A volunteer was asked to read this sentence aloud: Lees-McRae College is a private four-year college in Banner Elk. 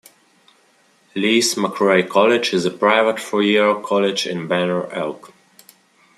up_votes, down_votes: 2, 0